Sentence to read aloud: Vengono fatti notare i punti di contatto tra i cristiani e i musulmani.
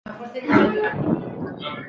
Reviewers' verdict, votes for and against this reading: rejected, 0, 2